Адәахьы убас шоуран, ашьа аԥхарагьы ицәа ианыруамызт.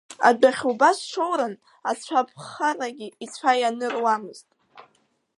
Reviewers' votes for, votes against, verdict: 2, 4, rejected